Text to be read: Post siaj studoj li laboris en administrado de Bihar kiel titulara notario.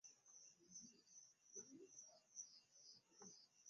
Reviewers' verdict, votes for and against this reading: rejected, 1, 2